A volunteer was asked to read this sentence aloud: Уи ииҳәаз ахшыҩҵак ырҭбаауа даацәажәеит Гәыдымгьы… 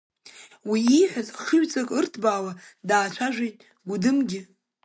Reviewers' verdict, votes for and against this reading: accepted, 2, 0